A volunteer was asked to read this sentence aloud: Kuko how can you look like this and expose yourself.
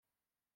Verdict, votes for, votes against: rejected, 0, 2